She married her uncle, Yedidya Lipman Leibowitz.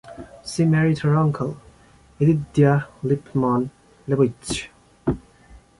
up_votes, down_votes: 0, 2